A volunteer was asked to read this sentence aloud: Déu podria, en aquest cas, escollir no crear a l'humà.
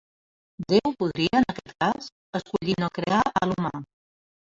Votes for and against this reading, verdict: 1, 2, rejected